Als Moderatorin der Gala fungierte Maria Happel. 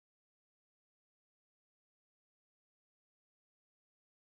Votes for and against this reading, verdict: 0, 6, rejected